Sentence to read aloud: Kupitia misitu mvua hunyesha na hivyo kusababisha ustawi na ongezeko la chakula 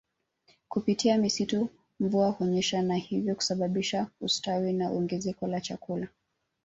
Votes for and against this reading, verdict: 1, 2, rejected